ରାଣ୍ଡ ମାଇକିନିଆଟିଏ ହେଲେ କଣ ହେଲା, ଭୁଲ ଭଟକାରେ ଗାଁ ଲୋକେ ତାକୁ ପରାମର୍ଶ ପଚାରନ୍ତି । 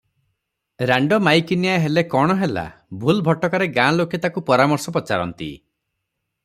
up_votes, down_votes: 0, 3